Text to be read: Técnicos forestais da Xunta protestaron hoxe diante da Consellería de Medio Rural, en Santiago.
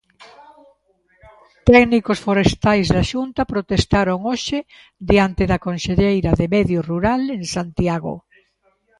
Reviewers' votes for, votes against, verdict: 0, 2, rejected